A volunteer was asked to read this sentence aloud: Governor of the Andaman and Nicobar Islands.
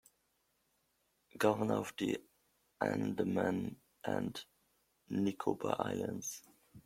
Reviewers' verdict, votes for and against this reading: rejected, 1, 2